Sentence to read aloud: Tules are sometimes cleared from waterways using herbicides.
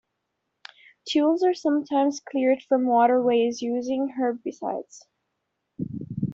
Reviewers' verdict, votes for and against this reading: accepted, 2, 0